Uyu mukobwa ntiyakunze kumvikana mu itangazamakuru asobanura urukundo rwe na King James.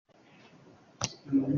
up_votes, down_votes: 0, 2